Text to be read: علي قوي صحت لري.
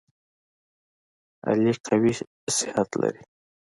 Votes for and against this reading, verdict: 2, 0, accepted